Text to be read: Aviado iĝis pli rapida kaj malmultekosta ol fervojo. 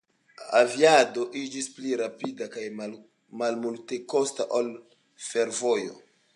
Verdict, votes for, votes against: accepted, 3, 0